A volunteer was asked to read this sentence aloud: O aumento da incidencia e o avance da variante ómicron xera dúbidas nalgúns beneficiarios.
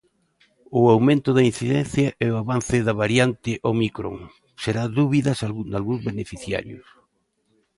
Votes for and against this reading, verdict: 1, 2, rejected